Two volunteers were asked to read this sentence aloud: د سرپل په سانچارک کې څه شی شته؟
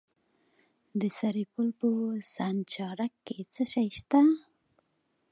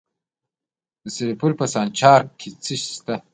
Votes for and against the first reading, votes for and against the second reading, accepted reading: 2, 0, 1, 2, first